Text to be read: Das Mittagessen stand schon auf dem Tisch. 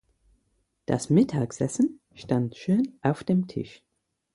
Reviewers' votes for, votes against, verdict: 0, 4, rejected